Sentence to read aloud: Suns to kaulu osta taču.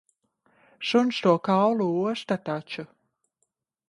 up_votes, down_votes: 2, 0